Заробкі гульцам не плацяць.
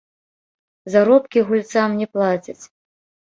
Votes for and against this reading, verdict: 1, 2, rejected